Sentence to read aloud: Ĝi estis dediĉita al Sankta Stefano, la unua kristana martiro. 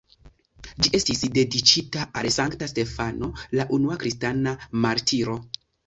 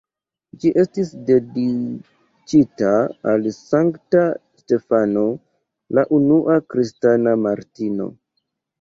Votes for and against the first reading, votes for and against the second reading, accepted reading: 2, 0, 0, 2, first